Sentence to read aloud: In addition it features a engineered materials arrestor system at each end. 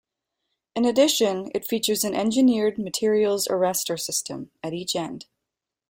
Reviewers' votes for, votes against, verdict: 2, 0, accepted